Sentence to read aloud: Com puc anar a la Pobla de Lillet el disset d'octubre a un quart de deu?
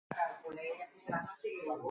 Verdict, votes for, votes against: rejected, 0, 2